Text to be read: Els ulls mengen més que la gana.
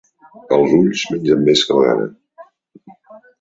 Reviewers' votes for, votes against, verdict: 1, 2, rejected